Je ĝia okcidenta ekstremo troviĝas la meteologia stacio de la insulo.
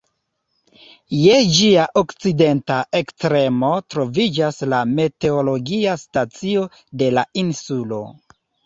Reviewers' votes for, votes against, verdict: 1, 2, rejected